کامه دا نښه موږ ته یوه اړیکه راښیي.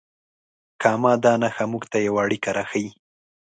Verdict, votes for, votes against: accepted, 2, 0